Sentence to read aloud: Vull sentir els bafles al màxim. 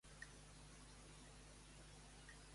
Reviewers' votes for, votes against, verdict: 0, 2, rejected